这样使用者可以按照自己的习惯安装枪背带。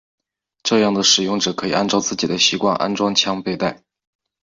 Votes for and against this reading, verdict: 1, 3, rejected